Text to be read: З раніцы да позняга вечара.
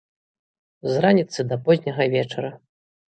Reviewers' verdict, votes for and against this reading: accepted, 2, 0